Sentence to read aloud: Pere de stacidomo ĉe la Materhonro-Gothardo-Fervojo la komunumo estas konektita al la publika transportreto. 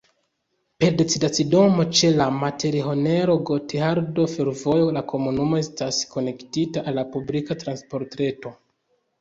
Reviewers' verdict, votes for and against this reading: rejected, 0, 2